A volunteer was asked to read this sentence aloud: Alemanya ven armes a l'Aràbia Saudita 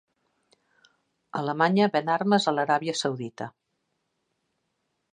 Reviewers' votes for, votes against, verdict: 2, 0, accepted